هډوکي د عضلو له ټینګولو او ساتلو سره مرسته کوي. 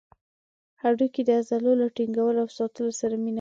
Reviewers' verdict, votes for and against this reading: rejected, 0, 2